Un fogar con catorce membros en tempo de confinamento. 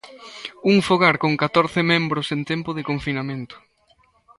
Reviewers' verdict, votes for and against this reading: accepted, 2, 0